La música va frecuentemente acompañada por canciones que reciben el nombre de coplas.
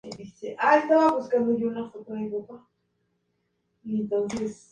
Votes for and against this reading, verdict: 0, 4, rejected